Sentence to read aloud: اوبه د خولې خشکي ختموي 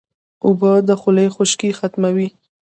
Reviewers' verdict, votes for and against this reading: accepted, 2, 0